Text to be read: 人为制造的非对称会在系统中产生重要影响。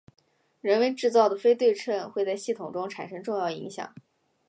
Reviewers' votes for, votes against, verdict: 3, 0, accepted